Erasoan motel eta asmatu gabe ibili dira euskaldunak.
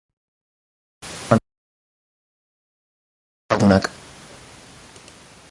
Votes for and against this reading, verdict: 0, 4, rejected